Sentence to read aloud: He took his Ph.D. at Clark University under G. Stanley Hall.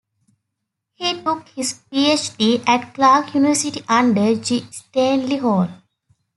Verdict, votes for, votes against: accepted, 2, 0